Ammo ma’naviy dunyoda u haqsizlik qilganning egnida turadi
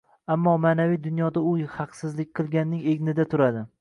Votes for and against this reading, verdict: 1, 2, rejected